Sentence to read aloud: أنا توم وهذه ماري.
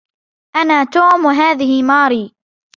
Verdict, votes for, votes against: accepted, 2, 0